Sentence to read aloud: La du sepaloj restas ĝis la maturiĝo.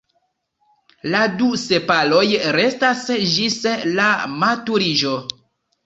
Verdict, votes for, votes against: rejected, 1, 2